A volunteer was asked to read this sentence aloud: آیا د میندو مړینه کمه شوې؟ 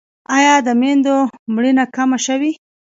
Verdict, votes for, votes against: accepted, 2, 0